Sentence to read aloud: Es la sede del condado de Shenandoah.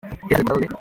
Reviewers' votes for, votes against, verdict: 0, 2, rejected